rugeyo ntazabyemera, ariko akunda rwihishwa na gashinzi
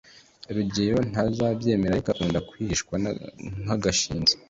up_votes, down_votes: 0, 2